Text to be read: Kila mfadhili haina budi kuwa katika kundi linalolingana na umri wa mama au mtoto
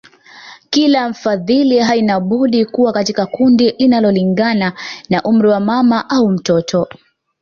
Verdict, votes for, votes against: accepted, 2, 1